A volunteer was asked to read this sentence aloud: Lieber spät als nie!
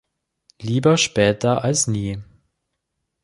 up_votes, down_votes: 0, 2